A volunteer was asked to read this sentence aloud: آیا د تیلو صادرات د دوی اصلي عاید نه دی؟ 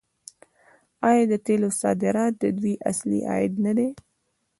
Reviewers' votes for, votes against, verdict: 2, 1, accepted